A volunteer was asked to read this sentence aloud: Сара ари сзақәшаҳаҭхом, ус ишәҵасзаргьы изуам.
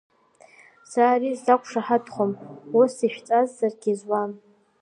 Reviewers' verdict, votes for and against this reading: accepted, 2, 1